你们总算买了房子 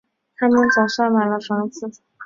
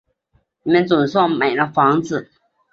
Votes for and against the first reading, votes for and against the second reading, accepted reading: 0, 2, 3, 0, second